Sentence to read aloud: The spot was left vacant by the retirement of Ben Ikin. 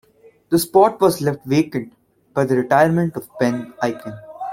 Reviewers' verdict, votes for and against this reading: accepted, 2, 1